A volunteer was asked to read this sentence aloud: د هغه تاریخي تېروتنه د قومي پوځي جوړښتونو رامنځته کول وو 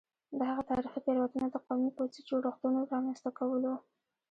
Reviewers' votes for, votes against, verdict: 1, 2, rejected